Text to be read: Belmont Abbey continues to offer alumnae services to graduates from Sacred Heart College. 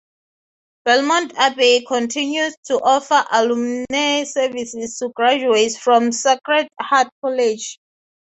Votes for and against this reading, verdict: 0, 3, rejected